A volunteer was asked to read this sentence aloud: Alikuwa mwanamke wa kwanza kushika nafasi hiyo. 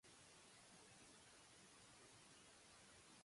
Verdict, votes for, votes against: rejected, 0, 2